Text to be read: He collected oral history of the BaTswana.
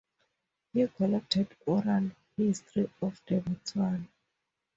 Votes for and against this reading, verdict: 0, 2, rejected